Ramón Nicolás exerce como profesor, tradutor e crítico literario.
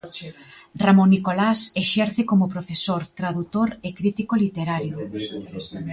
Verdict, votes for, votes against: rejected, 1, 2